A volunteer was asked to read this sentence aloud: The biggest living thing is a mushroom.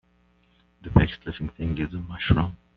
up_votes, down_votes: 0, 2